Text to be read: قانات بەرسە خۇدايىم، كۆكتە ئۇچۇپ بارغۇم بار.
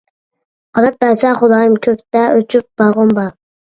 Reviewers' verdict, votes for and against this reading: rejected, 0, 2